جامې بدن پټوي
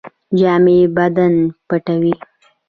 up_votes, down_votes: 1, 2